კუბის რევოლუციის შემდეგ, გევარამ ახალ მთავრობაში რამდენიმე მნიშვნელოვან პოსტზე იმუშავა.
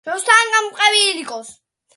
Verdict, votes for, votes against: rejected, 0, 2